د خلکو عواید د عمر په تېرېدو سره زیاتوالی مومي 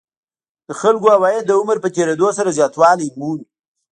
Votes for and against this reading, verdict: 1, 2, rejected